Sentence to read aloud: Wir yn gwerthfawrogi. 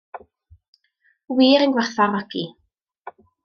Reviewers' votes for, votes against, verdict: 2, 0, accepted